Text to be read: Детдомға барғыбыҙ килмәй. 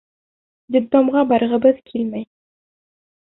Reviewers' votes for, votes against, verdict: 2, 0, accepted